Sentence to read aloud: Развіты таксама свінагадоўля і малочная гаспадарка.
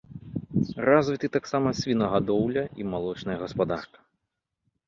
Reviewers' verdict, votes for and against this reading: rejected, 1, 2